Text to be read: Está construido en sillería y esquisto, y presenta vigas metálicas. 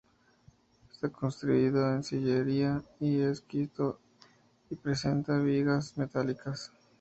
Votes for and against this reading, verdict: 2, 0, accepted